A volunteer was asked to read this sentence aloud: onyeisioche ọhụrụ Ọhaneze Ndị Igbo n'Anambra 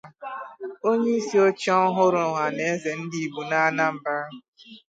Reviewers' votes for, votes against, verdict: 0, 2, rejected